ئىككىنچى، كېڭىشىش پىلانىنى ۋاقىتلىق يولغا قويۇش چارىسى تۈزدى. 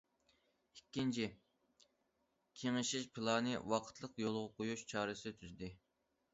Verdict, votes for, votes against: accepted, 2, 0